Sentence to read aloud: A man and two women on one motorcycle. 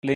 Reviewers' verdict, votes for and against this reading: rejected, 0, 2